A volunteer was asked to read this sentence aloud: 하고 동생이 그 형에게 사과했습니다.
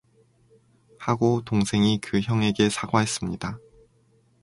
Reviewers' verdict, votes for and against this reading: accepted, 4, 0